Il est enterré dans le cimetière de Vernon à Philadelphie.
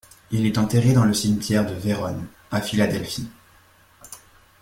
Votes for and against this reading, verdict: 0, 2, rejected